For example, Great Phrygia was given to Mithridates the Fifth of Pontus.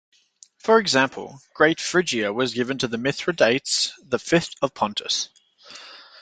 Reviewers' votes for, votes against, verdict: 0, 2, rejected